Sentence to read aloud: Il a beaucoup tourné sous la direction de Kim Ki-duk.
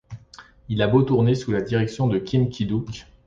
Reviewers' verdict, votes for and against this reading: rejected, 0, 2